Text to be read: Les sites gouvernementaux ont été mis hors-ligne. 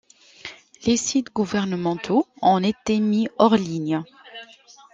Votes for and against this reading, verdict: 0, 2, rejected